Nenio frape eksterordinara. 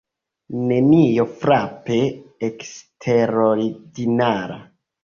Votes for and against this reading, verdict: 1, 2, rejected